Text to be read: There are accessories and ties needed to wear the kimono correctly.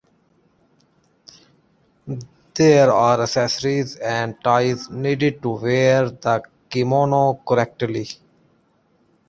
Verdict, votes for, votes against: accepted, 2, 1